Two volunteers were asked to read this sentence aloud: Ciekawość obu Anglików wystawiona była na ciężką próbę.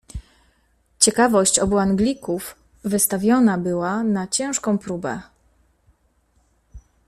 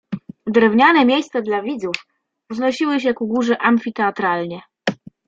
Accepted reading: first